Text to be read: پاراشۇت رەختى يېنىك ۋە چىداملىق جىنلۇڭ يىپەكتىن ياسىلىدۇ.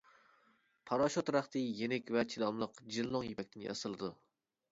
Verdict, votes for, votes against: accepted, 2, 1